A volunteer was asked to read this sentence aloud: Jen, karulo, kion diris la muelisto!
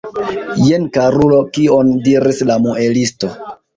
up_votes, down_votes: 2, 0